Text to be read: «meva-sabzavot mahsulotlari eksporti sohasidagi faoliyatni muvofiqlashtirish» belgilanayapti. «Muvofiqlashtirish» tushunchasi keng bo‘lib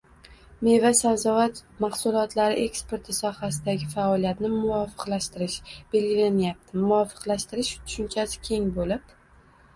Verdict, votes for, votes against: accepted, 2, 1